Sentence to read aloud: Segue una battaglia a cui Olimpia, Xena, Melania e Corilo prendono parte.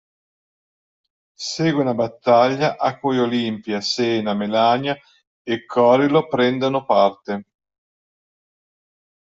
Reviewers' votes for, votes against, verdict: 2, 1, accepted